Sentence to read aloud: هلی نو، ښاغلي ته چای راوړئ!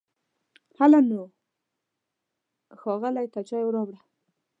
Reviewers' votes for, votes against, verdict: 1, 2, rejected